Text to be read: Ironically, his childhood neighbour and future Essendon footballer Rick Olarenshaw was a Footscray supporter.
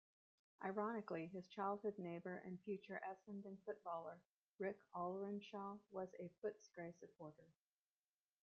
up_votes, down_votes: 1, 2